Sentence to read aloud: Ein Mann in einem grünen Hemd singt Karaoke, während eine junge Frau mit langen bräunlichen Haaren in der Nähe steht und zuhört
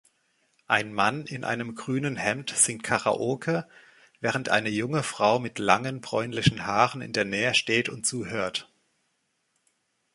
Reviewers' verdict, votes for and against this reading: accepted, 2, 0